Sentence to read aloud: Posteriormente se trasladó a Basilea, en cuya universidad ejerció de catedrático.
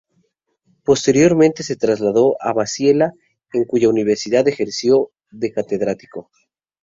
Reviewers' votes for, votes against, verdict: 0, 2, rejected